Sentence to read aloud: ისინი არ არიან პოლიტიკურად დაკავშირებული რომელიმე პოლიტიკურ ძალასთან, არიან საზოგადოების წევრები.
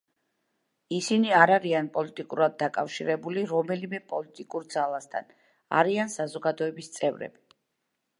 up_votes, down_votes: 2, 0